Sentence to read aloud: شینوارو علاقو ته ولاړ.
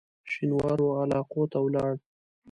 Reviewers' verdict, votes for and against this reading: accepted, 2, 0